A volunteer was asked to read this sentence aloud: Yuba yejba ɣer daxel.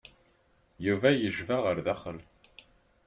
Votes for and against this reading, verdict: 3, 0, accepted